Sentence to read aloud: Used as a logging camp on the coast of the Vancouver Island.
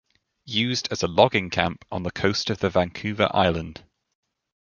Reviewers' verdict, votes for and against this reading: accepted, 2, 0